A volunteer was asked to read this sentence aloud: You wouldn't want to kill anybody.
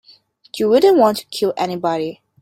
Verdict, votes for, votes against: accepted, 2, 0